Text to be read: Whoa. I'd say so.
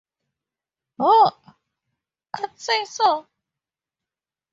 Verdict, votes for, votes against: accepted, 4, 0